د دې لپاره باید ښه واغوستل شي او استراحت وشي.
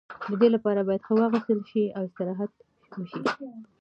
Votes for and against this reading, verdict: 2, 1, accepted